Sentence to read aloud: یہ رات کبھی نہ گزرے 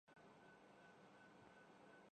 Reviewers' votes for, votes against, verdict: 0, 8, rejected